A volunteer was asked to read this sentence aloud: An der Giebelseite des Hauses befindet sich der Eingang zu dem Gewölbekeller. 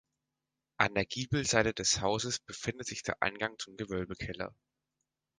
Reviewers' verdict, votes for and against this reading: rejected, 1, 2